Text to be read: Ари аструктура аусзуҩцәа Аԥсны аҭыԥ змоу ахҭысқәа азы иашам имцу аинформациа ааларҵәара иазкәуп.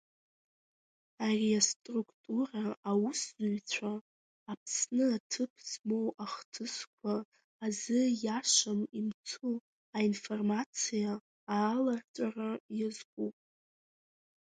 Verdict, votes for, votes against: rejected, 1, 2